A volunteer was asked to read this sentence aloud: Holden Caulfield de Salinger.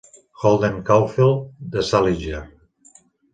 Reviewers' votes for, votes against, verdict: 2, 0, accepted